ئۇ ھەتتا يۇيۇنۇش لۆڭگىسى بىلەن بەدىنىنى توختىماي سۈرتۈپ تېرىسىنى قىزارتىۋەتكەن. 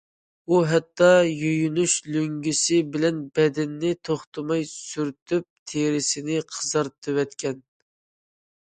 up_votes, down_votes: 2, 0